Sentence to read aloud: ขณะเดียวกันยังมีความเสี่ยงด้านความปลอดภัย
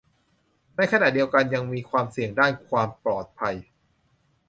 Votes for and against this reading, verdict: 0, 2, rejected